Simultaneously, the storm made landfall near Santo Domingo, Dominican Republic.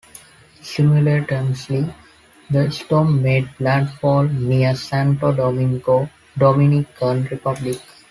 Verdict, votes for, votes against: rejected, 1, 2